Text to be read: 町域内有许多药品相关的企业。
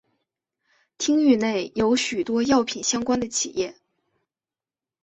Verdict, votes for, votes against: accepted, 2, 0